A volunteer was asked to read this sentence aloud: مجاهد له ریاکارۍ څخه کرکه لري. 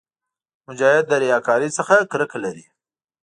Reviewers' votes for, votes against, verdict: 2, 0, accepted